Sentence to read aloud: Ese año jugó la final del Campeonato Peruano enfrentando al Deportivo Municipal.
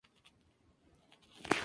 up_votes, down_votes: 0, 2